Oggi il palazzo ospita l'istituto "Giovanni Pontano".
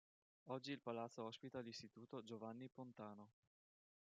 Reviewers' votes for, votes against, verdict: 2, 1, accepted